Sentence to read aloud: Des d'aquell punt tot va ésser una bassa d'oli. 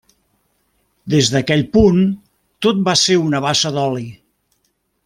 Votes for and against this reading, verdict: 0, 2, rejected